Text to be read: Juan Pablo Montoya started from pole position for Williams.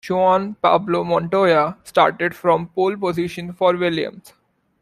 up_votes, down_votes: 1, 2